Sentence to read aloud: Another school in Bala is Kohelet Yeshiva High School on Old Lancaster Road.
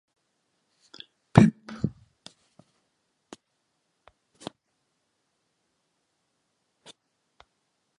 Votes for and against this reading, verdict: 0, 2, rejected